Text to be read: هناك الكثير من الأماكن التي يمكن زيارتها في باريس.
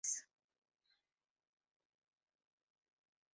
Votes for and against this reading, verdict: 1, 2, rejected